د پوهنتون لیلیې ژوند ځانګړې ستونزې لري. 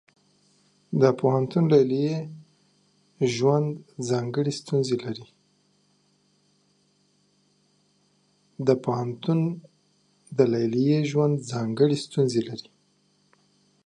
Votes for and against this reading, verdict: 0, 2, rejected